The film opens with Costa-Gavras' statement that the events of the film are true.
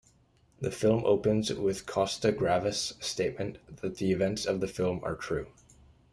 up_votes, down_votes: 0, 2